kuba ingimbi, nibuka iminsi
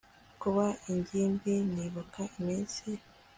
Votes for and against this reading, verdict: 2, 0, accepted